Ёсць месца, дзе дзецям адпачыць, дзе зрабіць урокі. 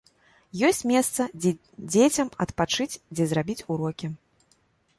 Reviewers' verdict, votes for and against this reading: rejected, 0, 2